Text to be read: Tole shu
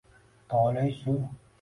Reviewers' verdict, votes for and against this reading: rejected, 0, 2